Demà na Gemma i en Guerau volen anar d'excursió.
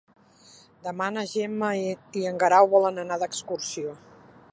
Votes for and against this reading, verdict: 1, 2, rejected